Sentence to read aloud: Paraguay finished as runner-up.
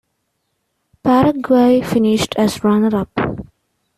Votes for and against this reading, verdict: 2, 0, accepted